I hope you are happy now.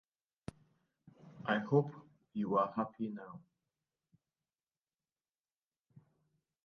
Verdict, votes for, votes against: accepted, 2, 1